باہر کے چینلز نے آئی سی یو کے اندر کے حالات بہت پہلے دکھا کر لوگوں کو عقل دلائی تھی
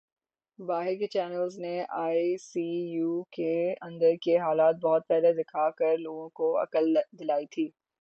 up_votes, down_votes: 9, 6